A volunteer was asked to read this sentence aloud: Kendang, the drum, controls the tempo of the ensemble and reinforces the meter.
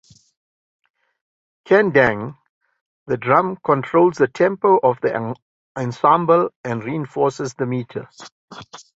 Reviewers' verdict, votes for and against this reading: rejected, 1, 2